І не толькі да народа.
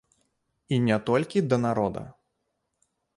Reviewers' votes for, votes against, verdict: 2, 0, accepted